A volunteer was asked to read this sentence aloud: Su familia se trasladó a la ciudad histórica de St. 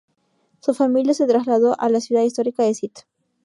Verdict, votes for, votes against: rejected, 0, 2